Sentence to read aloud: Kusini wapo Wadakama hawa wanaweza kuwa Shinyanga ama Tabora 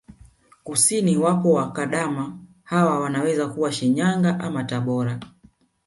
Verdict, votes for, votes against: rejected, 1, 2